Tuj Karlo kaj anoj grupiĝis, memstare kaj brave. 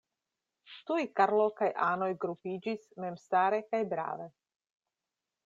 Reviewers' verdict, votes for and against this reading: accepted, 2, 0